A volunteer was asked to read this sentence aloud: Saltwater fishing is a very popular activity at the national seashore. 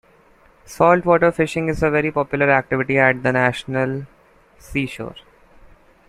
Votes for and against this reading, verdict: 1, 2, rejected